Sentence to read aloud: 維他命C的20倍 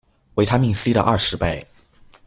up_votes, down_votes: 0, 2